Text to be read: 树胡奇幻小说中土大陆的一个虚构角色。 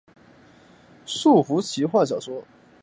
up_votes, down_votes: 2, 5